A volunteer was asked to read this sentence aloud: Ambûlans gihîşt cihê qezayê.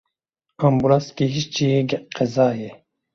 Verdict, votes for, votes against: rejected, 0, 2